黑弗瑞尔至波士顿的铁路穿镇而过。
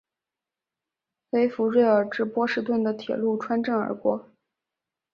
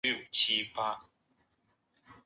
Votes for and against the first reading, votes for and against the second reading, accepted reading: 3, 0, 1, 2, first